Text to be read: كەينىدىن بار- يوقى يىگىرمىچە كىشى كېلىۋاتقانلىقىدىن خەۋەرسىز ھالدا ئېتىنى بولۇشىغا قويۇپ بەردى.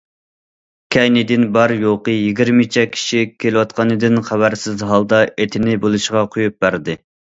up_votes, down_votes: 1, 2